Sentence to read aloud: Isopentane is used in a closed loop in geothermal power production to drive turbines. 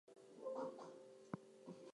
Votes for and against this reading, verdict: 0, 2, rejected